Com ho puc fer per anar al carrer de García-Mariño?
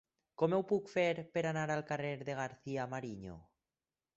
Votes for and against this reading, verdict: 4, 0, accepted